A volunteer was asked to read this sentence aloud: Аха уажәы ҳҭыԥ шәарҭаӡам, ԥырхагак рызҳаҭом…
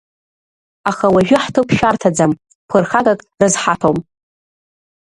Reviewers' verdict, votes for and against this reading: rejected, 1, 2